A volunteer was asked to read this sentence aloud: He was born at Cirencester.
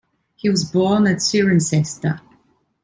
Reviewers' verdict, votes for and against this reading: rejected, 1, 2